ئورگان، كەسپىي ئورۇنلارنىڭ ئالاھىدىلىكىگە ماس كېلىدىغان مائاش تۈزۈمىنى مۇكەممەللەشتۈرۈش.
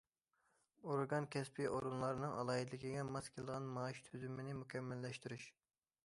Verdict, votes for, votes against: accepted, 2, 0